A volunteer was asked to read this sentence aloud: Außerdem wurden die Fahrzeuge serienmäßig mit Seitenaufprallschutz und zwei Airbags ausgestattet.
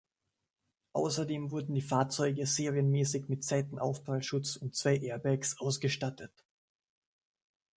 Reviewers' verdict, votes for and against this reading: accepted, 2, 0